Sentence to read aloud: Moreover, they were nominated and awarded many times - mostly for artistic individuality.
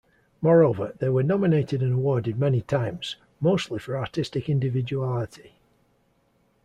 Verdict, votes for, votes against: accepted, 2, 0